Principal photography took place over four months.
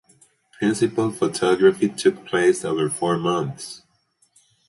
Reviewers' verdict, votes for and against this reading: rejected, 0, 4